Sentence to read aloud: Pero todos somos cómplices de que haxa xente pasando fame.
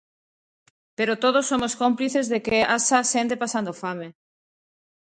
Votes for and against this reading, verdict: 2, 0, accepted